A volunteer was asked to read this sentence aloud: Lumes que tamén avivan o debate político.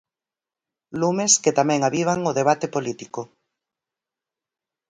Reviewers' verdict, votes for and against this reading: accepted, 4, 0